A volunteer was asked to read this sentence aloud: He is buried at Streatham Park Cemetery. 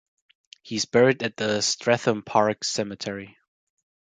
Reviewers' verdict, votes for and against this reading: rejected, 1, 2